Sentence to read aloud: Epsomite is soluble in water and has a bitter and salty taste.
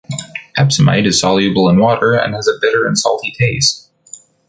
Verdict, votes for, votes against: accepted, 2, 0